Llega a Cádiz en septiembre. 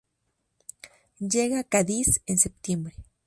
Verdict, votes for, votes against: rejected, 0, 2